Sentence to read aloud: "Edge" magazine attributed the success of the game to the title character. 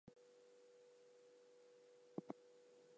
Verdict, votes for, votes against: rejected, 0, 4